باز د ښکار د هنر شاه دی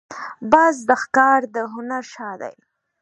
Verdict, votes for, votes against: accepted, 2, 0